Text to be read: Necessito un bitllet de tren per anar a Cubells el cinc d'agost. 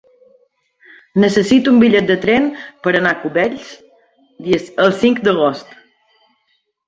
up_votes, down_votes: 1, 2